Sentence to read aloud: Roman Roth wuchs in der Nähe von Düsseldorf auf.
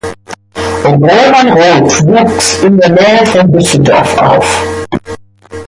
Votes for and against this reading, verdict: 0, 2, rejected